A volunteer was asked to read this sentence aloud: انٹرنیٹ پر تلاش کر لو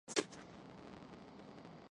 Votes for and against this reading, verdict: 0, 2, rejected